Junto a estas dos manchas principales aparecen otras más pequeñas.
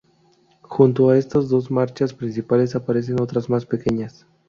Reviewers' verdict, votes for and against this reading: rejected, 0, 2